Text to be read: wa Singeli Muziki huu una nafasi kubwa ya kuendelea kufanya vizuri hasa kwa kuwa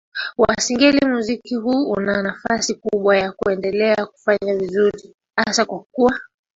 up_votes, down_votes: 3, 0